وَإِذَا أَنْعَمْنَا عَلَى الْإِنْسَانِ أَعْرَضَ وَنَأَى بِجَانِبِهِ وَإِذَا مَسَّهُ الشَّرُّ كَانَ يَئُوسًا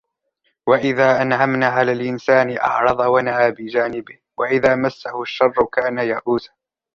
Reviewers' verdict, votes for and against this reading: rejected, 1, 2